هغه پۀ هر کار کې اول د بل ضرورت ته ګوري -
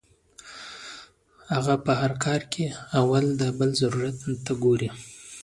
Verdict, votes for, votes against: accepted, 2, 0